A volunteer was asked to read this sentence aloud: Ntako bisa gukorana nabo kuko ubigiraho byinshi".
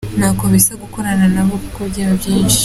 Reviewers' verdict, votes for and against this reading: rejected, 0, 2